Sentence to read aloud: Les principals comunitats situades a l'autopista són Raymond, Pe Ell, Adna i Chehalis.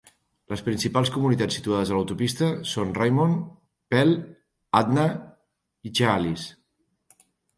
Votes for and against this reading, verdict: 1, 2, rejected